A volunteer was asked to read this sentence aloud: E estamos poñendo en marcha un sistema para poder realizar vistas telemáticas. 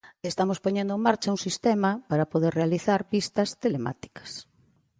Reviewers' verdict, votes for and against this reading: accepted, 2, 1